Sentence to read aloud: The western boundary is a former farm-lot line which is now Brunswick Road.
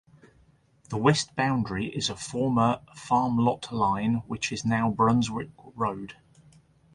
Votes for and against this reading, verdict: 0, 2, rejected